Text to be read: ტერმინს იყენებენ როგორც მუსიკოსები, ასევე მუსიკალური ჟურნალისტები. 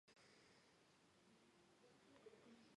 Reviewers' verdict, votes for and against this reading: rejected, 1, 2